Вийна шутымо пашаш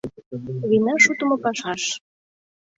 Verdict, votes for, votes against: rejected, 1, 2